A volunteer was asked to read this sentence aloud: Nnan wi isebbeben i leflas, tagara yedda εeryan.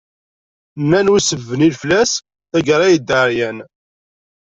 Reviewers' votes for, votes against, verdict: 1, 2, rejected